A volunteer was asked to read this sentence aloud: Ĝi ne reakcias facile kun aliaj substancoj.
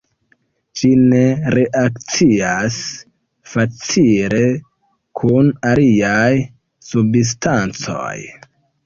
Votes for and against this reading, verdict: 0, 2, rejected